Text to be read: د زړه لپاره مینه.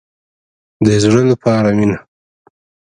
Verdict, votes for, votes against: rejected, 1, 2